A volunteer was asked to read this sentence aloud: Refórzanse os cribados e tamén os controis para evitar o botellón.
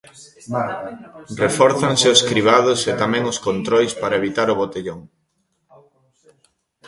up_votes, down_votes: 2, 0